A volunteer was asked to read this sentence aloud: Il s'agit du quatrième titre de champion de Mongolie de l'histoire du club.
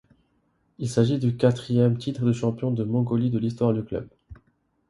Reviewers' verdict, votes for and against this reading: accepted, 2, 0